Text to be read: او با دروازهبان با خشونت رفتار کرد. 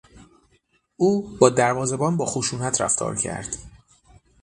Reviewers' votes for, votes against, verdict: 6, 0, accepted